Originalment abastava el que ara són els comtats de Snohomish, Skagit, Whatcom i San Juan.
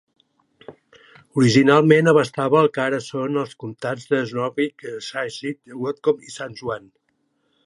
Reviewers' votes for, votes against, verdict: 1, 2, rejected